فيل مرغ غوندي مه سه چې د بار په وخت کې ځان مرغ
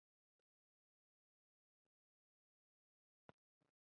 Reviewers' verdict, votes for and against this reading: rejected, 0, 2